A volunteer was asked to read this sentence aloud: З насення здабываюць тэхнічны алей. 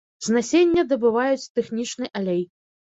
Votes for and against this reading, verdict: 1, 2, rejected